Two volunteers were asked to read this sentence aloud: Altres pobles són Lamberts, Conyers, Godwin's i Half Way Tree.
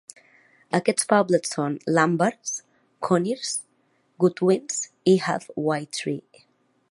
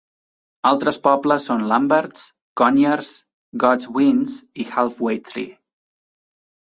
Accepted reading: second